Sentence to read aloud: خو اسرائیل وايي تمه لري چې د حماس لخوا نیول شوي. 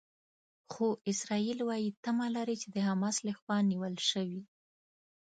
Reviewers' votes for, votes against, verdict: 1, 2, rejected